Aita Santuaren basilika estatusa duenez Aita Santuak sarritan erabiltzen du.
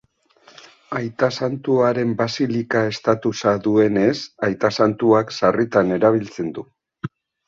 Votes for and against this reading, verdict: 0, 2, rejected